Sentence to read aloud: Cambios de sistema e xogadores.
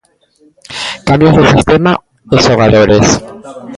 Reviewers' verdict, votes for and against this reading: rejected, 1, 2